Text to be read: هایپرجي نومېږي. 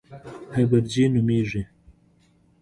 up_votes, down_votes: 2, 0